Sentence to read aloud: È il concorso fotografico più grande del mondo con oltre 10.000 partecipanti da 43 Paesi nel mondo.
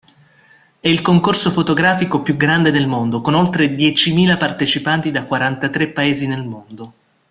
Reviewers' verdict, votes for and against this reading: rejected, 0, 2